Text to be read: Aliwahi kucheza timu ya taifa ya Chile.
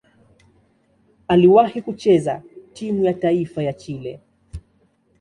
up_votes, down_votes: 2, 0